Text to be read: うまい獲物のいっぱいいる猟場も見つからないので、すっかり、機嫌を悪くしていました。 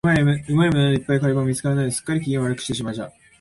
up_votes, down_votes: 2, 1